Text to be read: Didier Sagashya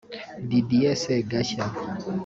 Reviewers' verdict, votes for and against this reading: rejected, 1, 2